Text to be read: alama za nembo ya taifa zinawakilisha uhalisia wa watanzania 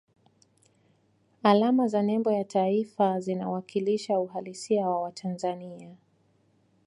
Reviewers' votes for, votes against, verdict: 2, 1, accepted